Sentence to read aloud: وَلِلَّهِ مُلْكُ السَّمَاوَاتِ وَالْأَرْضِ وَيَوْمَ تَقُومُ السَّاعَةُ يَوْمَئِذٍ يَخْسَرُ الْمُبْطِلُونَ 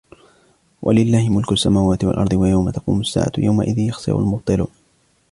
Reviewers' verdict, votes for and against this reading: rejected, 1, 2